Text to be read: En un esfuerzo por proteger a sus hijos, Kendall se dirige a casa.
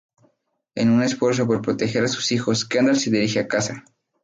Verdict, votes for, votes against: rejected, 0, 2